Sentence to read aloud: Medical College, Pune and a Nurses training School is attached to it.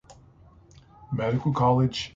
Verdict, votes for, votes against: rejected, 0, 3